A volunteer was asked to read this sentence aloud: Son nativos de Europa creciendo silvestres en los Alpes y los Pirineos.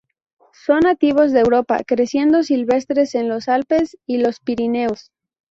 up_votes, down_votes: 2, 0